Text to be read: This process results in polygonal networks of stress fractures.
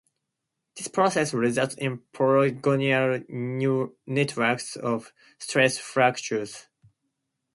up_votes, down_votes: 4, 0